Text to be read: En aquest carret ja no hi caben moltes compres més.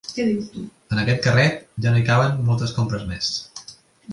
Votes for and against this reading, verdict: 1, 2, rejected